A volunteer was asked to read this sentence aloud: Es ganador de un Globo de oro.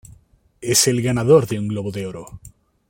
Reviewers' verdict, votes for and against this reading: rejected, 0, 2